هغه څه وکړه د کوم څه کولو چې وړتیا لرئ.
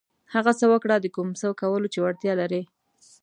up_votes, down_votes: 2, 1